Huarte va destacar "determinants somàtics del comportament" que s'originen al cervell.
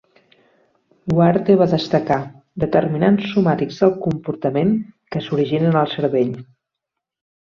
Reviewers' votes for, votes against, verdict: 2, 0, accepted